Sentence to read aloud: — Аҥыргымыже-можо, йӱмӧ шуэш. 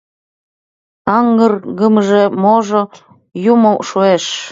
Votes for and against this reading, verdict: 0, 2, rejected